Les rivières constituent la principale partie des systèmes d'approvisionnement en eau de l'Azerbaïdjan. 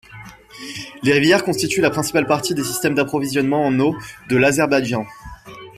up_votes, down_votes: 2, 0